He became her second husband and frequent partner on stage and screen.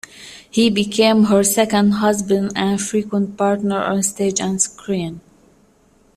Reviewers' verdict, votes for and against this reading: accepted, 2, 0